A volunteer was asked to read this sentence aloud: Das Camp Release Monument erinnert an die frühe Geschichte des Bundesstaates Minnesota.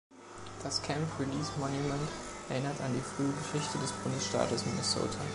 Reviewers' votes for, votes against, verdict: 2, 1, accepted